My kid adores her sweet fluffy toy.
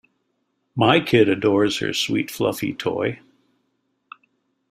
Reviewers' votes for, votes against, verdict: 2, 0, accepted